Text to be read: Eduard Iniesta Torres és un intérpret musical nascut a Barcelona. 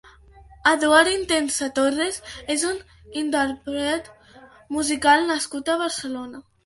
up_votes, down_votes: 0, 2